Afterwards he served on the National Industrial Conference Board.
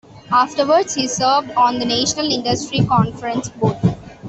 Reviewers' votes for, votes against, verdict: 1, 2, rejected